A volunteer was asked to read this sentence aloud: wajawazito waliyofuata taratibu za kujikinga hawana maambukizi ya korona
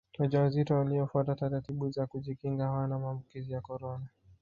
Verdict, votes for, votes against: rejected, 1, 2